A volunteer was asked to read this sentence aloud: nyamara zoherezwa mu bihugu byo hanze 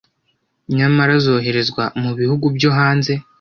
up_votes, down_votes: 2, 0